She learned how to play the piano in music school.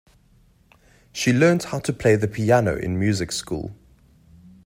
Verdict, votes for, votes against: accepted, 2, 0